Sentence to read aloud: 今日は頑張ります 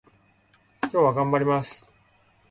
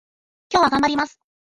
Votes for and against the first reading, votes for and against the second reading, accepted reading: 2, 0, 0, 3, first